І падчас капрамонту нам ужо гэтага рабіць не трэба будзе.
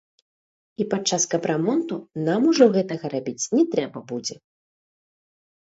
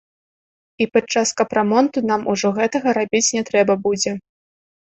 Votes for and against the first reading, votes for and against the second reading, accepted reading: 0, 2, 2, 0, second